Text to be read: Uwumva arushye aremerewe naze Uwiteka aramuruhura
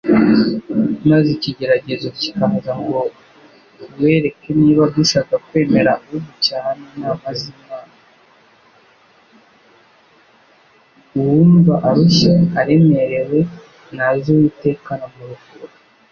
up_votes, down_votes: 1, 2